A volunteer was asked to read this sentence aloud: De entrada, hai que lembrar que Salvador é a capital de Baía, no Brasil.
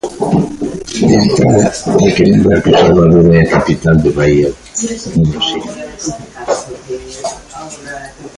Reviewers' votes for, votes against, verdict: 1, 2, rejected